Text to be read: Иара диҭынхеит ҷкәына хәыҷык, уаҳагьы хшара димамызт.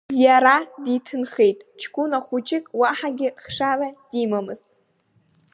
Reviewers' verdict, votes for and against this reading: accepted, 2, 0